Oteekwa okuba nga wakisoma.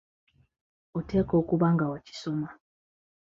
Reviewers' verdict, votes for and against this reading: accepted, 2, 0